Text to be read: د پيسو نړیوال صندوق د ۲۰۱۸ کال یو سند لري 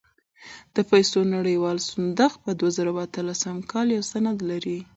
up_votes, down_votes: 0, 2